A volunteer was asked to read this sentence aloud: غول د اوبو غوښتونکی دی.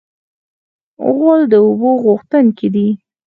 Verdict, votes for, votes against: accepted, 4, 2